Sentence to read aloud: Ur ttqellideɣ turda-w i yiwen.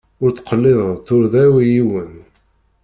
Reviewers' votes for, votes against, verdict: 1, 2, rejected